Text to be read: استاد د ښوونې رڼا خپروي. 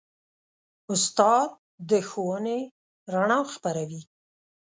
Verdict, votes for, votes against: accepted, 2, 0